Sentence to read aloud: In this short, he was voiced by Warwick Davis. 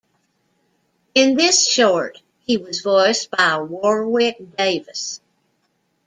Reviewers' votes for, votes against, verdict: 2, 0, accepted